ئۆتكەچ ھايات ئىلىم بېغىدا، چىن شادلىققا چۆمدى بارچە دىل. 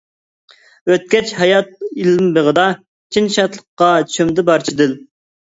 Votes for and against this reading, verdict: 0, 2, rejected